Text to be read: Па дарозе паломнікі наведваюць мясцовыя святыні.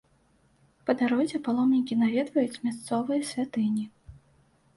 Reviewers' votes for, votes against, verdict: 2, 0, accepted